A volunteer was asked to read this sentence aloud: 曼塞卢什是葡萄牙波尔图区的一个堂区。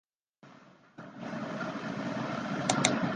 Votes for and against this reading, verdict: 0, 2, rejected